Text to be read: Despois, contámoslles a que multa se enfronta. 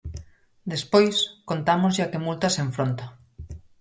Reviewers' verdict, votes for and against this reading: rejected, 2, 4